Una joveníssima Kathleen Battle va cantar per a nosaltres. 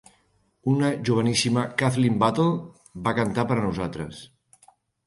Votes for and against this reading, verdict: 3, 0, accepted